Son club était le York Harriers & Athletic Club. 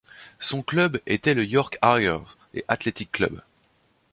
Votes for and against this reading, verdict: 2, 0, accepted